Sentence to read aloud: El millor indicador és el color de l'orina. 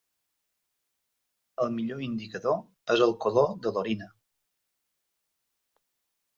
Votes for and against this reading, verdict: 1, 2, rejected